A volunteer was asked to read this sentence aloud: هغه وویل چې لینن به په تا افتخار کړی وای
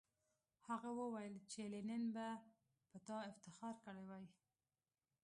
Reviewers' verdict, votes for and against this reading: rejected, 1, 2